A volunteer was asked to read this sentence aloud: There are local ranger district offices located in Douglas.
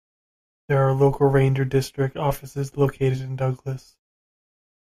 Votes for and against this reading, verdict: 2, 0, accepted